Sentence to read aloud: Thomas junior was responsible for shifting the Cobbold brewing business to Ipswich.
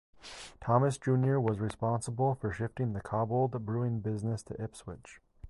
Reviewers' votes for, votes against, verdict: 2, 0, accepted